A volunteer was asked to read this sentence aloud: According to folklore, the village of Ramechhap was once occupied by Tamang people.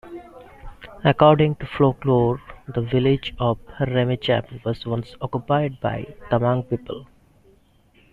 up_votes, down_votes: 2, 0